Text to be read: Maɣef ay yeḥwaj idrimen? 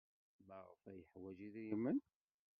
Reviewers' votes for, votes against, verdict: 0, 2, rejected